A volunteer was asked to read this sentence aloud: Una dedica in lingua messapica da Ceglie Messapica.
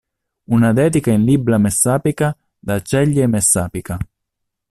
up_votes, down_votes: 0, 2